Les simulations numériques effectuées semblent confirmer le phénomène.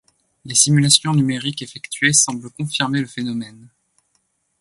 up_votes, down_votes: 2, 0